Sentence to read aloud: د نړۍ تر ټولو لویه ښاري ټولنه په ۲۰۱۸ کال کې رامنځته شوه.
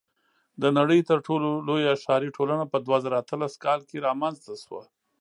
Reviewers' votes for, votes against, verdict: 0, 2, rejected